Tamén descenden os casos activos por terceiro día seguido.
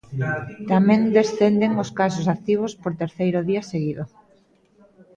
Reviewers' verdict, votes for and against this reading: rejected, 1, 2